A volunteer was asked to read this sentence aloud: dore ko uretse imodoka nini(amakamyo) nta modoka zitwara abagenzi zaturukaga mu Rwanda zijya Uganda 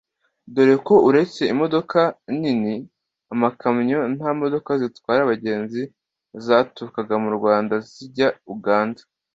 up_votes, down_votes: 2, 0